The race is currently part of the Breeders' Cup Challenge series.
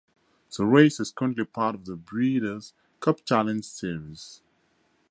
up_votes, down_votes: 2, 0